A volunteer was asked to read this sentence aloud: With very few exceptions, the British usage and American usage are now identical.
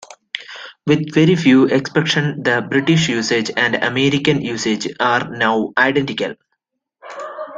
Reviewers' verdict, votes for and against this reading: accepted, 2, 0